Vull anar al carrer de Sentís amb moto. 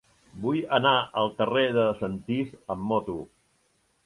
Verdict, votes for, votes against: rejected, 0, 2